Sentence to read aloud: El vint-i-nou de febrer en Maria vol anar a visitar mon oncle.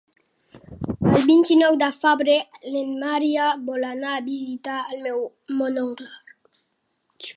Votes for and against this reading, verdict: 1, 4, rejected